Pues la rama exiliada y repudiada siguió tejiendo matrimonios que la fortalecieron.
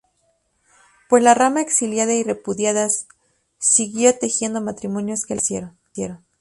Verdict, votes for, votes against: rejected, 0, 4